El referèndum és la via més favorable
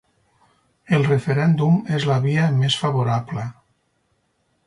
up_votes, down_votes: 4, 0